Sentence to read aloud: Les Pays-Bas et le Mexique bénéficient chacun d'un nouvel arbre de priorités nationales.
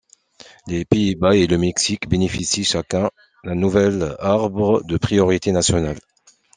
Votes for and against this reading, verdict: 2, 0, accepted